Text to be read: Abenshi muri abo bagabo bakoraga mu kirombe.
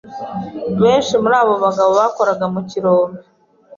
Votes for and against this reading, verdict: 1, 2, rejected